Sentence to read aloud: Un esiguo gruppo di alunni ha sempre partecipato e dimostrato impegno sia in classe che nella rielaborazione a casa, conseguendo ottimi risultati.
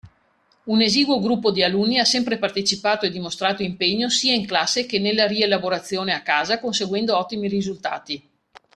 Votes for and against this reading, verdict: 2, 0, accepted